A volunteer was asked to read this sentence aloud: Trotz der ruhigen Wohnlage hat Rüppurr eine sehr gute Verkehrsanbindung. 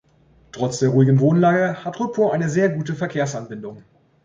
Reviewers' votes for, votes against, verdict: 2, 0, accepted